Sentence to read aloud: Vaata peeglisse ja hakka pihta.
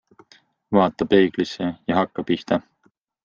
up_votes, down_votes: 2, 0